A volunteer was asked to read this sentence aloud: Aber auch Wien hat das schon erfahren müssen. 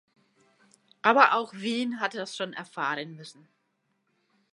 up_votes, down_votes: 2, 0